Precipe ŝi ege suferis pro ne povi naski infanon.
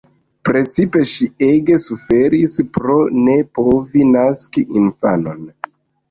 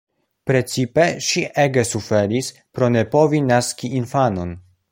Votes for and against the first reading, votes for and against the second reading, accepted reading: 1, 2, 2, 0, second